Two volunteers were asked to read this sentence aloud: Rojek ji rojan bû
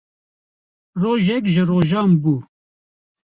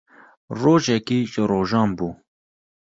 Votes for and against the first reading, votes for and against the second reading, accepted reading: 2, 0, 1, 2, first